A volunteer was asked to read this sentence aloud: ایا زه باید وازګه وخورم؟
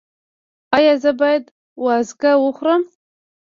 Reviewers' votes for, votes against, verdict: 0, 2, rejected